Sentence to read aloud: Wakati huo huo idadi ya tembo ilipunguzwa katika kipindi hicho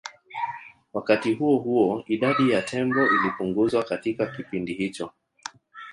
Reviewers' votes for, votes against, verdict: 1, 2, rejected